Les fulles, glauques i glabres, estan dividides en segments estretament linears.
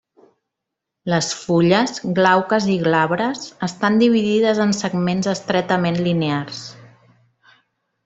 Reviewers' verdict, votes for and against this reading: accepted, 3, 0